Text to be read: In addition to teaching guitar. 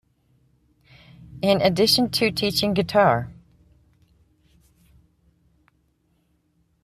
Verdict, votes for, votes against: accepted, 4, 0